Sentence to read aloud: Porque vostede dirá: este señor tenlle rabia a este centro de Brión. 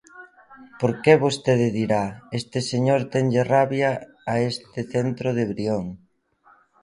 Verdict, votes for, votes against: accepted, 2, 0